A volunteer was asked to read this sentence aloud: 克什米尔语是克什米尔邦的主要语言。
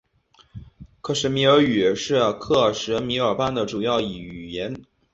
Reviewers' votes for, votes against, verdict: 0, 3, rejected